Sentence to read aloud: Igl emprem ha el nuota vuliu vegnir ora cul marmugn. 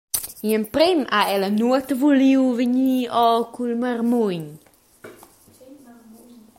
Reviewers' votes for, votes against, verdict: 2, 0, accepted